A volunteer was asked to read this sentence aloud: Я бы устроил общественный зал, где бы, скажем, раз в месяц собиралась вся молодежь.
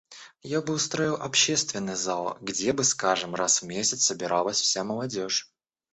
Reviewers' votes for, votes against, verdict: 2, 0, accepted